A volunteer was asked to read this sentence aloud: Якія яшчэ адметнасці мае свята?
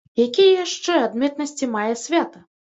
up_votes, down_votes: 2, 0